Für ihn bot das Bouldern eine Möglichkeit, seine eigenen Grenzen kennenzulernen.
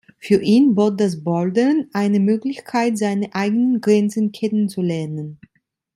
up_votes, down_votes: 2, 0